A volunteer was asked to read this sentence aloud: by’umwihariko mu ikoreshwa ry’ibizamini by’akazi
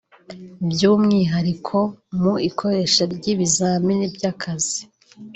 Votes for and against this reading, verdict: 3, 1, accepted